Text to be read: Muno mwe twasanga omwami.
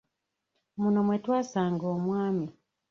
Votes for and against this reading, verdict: 1, 2, rejected